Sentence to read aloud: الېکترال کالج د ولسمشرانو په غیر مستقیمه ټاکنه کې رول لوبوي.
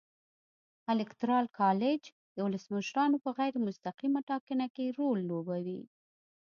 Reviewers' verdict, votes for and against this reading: accepted, 2, 0